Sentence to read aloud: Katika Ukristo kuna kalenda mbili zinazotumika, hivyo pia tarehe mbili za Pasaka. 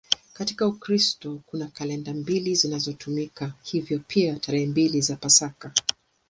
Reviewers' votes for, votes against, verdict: 6, 1, accepted